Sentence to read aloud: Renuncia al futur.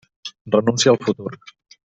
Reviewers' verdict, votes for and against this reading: rejected, 1, 2